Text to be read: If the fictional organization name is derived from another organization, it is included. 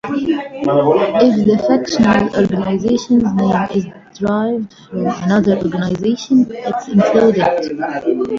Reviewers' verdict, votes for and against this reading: rejected, 0, 3